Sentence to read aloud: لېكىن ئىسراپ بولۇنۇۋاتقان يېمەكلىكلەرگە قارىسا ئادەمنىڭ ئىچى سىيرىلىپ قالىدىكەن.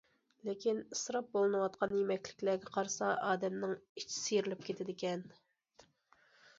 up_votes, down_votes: 0, 2